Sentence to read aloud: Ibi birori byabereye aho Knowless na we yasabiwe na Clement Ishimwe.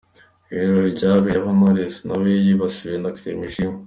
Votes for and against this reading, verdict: 2, 0, accepted